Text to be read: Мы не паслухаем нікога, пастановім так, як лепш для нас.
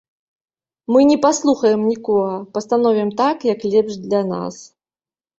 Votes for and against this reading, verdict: 2, 0, accepted